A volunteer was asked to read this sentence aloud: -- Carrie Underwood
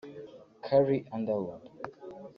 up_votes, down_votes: 0, 3